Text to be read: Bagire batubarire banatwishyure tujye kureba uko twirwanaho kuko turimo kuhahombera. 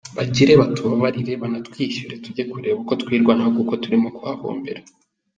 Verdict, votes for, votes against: accepted, 2, 0